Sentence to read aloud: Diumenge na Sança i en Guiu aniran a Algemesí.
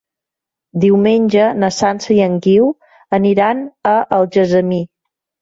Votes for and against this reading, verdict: 0, 2, rejected